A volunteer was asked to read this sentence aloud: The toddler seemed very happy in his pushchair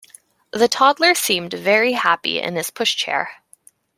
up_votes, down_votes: 2, 0